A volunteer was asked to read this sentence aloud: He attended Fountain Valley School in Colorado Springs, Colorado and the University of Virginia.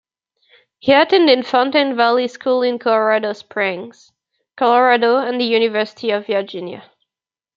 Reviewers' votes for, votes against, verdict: 2, 1, accepted